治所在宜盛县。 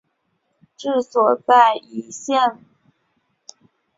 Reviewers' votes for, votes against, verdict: 1, 5, rejected